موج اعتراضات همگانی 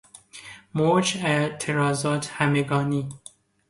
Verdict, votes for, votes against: accepted, 2, 1